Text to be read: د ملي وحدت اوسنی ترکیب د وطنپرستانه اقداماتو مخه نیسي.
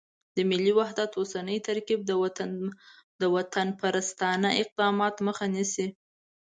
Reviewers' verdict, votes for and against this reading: accepted, 2, 0